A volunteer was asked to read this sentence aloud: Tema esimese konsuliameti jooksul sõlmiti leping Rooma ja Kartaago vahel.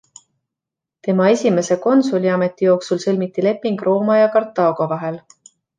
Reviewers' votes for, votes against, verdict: 2, 0, accepted